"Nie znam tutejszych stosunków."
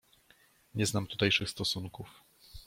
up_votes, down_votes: 2, 0